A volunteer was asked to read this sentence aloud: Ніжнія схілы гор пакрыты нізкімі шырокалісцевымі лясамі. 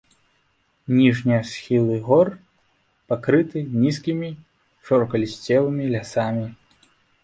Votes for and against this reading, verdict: 0, 2, rejected